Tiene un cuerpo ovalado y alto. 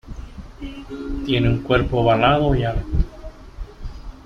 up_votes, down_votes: 2, 1